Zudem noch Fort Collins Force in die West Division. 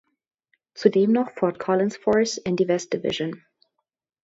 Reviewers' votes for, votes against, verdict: 2, 0, accepted